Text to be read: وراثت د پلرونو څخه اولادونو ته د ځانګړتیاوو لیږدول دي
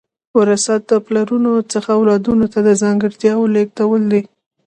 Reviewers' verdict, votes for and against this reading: accepted, 2, 0